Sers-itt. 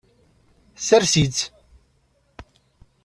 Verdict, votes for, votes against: accepted, 2, 0